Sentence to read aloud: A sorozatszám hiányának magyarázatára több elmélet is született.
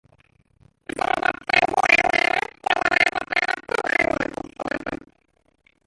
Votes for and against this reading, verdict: 0, 2, rejected